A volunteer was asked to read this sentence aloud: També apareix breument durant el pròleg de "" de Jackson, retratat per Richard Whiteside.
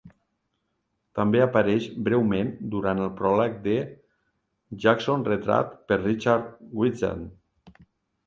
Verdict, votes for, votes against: rejected, 0, 2